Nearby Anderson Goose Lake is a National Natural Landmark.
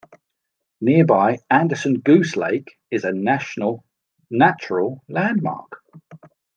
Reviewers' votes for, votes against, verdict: 2, 0, accepted